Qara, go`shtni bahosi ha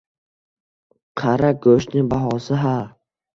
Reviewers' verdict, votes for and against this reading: accepted, 2, 1